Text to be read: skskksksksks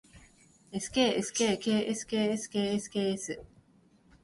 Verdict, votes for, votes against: accepted, 3, 0